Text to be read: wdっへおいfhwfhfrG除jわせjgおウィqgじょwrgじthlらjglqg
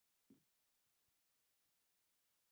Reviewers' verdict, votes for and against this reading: accepted, 2, 0